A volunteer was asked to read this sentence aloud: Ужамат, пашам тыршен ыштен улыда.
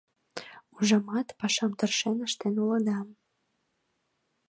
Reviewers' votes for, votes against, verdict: 2, 0, accepted